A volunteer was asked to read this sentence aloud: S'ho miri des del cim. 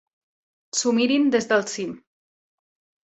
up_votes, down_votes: 0, 2